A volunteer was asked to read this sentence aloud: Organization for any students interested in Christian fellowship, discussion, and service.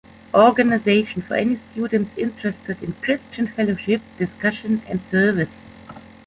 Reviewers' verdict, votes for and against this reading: rejected, 1, 2